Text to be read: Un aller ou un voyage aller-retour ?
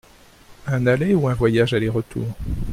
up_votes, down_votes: 2, 0